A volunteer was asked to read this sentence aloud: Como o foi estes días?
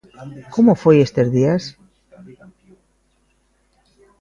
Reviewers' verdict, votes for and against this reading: rejected, 0, 2